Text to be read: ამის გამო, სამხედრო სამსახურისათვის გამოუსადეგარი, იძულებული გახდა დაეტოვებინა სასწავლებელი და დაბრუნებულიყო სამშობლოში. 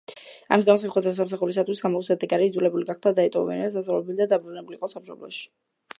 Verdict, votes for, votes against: rejected, 1, 2